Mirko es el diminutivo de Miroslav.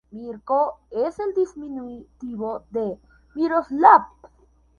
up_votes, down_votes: 0, 2